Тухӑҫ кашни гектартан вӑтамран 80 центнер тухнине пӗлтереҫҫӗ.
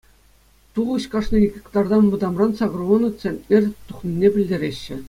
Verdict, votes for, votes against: rejected, 0, 2